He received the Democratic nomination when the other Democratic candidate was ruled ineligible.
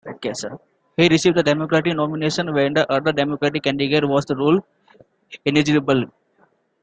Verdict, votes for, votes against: accepted, 2, 0